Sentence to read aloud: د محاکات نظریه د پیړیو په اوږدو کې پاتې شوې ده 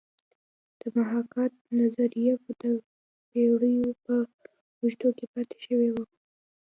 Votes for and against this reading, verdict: 2, 0, accepted